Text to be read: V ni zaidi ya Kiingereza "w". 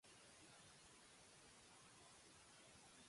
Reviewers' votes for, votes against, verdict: 0, 2, rejected